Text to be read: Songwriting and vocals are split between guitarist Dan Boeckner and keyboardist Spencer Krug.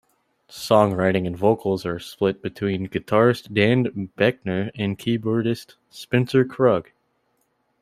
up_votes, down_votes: 2, 0